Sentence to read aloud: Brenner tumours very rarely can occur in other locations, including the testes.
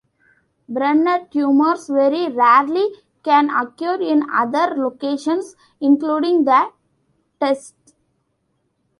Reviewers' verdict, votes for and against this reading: rejected, 1, 2